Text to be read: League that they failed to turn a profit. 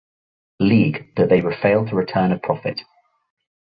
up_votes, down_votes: 0, 2